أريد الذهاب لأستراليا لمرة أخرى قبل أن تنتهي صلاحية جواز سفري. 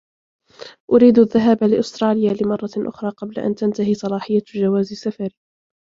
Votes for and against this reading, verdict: 1, 2, rejected